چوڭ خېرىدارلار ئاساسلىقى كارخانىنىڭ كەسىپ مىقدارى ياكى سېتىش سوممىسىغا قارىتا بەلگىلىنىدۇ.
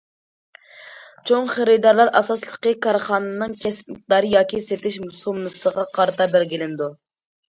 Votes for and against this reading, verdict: 2, 0, accepted